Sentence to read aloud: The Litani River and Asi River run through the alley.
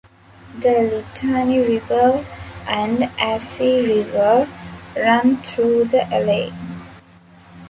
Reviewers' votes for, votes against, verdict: 0, 2, rejected